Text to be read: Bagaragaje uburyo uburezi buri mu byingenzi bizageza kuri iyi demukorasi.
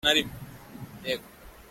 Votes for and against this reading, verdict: 0, 2, rejected